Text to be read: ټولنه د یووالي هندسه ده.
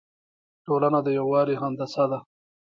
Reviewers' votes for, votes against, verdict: 0, 2, rejected